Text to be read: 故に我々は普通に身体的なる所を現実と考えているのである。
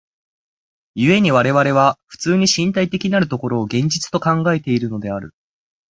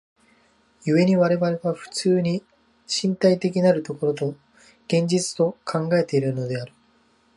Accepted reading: first